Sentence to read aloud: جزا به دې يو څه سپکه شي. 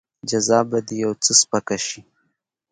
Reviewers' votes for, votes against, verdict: 1, 2, rejected